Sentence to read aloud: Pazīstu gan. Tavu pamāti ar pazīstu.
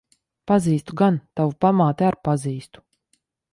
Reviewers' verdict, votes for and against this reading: accepted, 2, 0